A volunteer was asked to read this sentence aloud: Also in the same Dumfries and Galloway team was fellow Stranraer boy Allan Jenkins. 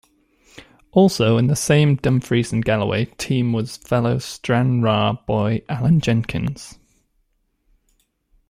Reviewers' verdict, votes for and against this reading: accepted, 2, 0